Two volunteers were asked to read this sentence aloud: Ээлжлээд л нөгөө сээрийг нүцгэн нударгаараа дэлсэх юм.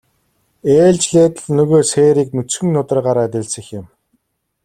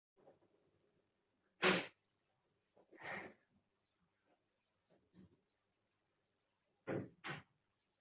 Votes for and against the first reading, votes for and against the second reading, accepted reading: 2, 0, 0, 2, first